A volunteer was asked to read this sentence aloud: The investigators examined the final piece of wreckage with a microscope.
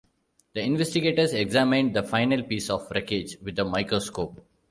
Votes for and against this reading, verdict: 2, 0, accepted